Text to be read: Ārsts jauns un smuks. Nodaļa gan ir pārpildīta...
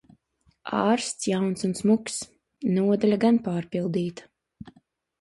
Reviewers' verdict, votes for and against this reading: rejected, 0, 2